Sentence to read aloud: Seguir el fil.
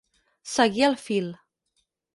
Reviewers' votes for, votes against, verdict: 4, 0, accepted